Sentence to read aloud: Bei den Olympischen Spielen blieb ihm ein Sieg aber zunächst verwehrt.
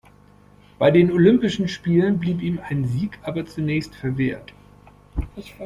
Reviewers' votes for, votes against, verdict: 2, 0, accepted